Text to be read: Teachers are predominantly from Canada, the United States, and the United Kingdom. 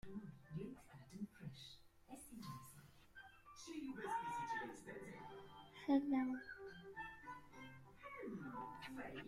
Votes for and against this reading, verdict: 0, 2, rejected